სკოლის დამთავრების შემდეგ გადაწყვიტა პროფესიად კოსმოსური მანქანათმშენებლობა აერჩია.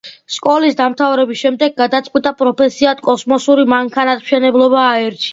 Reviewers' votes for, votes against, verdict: 2, 0, accepted